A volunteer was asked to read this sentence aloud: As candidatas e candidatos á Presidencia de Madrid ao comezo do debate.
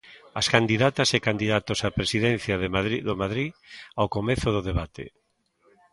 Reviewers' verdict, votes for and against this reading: rejected, 0, 2